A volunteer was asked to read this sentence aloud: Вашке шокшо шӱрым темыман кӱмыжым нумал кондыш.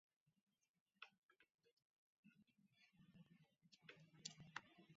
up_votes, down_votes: 1, 2